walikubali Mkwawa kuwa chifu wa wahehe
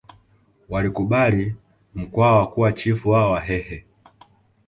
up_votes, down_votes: 2, 0